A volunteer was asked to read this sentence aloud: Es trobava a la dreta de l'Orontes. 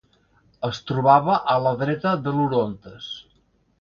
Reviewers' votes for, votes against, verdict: 3, 0, accepted